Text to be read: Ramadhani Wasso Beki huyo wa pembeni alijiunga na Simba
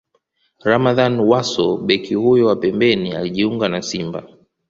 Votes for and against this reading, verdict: 2, 0, accepted